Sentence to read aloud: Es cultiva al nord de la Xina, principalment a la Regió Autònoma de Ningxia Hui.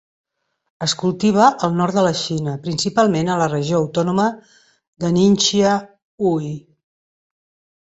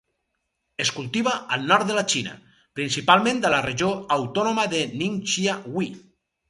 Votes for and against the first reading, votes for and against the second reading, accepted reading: 3, 0, 2, 2, first